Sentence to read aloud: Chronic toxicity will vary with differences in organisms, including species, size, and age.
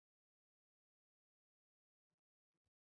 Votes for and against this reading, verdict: 0, 2, rejected